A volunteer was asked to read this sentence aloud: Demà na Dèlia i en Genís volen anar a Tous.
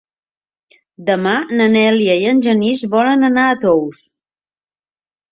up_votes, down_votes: 1, 2